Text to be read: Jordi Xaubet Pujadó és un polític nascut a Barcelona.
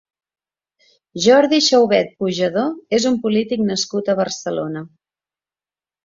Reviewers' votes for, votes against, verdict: 2, 0, accepted